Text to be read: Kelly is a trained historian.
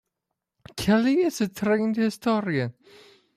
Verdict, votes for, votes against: accepted, 2, 0